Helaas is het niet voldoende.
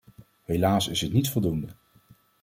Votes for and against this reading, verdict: 2, 0, accepted